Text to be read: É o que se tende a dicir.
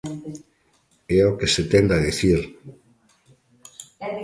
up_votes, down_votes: 1, 2